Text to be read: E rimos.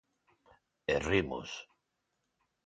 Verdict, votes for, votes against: accepted, 2, 1